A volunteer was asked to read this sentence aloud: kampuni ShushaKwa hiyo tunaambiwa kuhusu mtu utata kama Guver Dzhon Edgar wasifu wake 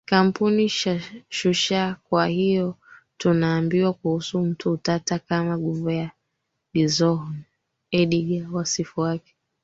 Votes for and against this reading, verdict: 1, 4, rejected